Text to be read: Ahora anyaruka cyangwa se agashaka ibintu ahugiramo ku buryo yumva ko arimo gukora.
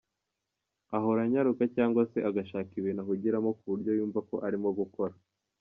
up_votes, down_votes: 2, 0